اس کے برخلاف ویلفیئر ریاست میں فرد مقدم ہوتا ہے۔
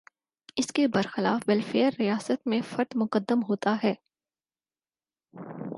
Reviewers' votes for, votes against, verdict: 6, 0, accepted